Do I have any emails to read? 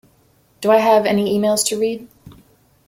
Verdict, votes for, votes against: accepted, 2, 0